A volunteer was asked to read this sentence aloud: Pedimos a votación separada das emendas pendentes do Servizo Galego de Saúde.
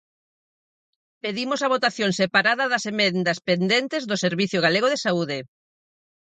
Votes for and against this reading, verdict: 2, 4, rejected